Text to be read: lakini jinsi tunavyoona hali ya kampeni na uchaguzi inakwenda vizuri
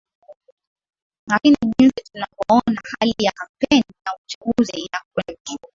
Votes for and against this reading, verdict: 0, 2, rejected